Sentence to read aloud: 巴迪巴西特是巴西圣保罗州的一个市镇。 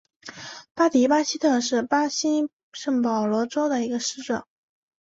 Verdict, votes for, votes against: accepted, 2, 0